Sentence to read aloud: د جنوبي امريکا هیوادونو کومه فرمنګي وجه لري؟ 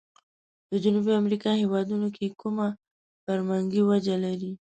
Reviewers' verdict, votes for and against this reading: rejected, 1, 3